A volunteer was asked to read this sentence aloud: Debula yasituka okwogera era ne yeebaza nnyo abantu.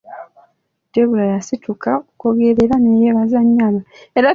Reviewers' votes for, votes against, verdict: 0, 2, rejected